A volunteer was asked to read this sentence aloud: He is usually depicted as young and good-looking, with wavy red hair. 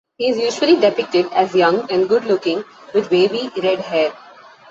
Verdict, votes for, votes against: accepted, 2, 0